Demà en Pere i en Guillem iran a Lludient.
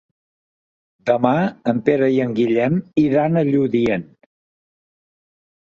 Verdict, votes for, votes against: accepted, 3, 0